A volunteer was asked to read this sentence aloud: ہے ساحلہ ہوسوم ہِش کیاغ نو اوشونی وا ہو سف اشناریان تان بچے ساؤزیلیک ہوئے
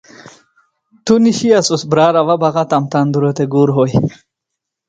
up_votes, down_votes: 0, 2